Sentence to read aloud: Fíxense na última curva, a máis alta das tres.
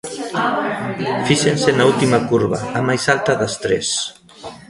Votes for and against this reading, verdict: 2, 1, accepted